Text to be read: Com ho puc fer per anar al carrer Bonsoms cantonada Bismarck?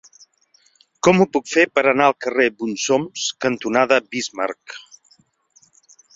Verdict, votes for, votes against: accepted, 4, 0